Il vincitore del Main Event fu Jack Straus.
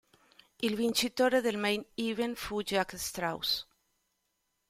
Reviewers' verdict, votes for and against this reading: accepted, 2, 0